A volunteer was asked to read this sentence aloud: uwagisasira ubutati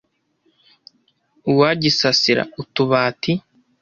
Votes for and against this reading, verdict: 0, 2, rejected